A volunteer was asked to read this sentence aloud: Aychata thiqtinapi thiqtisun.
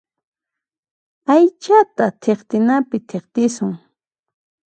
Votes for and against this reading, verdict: 3, 0, accepted